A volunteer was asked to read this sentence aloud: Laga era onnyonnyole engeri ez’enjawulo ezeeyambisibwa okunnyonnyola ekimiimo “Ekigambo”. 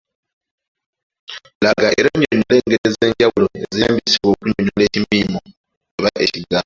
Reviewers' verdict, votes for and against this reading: rejected, 1, 2